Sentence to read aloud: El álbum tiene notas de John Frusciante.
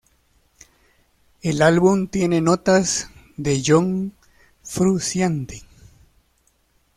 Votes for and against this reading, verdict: 0, 2, rejected